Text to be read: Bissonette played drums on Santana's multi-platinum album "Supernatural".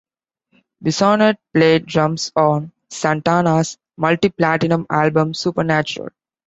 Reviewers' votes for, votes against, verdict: 2, 0, accepted